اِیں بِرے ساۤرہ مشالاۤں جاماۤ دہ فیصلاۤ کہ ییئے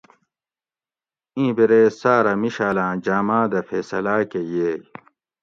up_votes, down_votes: 2, 0